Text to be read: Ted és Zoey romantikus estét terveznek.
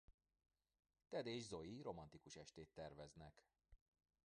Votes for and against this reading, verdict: 0, 2, rejected